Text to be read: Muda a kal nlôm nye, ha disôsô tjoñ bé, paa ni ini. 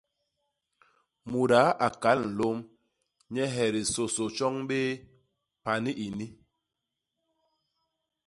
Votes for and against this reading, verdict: 0, 2, rejected